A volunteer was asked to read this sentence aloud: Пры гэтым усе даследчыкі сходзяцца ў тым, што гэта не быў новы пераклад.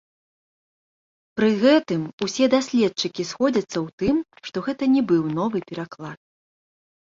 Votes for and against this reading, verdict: 2, 1, accepted